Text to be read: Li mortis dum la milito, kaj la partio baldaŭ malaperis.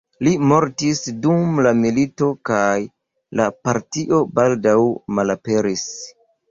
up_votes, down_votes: 2, 0